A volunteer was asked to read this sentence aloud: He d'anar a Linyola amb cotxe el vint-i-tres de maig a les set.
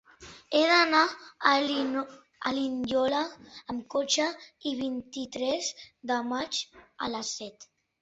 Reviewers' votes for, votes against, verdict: 0, 2, rejected